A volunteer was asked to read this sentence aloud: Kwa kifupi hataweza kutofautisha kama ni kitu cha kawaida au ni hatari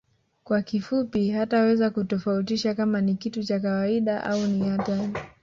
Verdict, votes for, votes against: accepted, 2, 0